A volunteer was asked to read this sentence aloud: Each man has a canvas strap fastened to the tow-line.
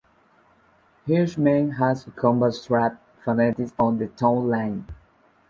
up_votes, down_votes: 0, 2